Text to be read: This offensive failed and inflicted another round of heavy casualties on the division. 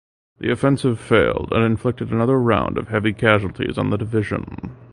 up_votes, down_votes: 0, 2